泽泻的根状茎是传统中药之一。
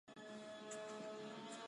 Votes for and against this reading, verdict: 0, 3, rejected